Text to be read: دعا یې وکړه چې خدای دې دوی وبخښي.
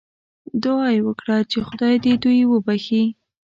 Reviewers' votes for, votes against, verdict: 2, 0, accepted